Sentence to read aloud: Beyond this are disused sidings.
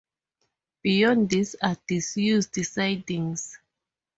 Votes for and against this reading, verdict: 2, 0, accepted